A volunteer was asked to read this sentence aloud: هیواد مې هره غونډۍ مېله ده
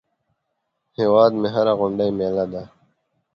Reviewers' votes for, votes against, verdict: 2, 0, accepted